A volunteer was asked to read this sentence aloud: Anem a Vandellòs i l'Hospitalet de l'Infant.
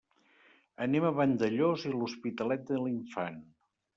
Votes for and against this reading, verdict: 2, 0, accepted